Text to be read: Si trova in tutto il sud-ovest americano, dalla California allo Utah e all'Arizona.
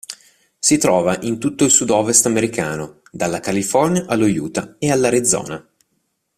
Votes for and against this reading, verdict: 2, 0, accepted